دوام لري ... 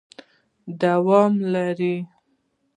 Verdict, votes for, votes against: rejected, 1, 2